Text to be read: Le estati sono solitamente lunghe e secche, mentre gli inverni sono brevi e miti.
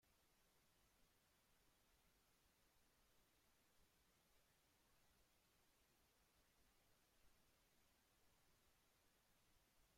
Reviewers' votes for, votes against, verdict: 0, 2, rejected